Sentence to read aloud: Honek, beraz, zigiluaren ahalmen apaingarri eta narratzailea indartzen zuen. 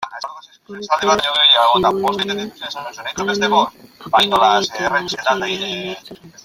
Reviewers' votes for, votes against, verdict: 0, 2, rejected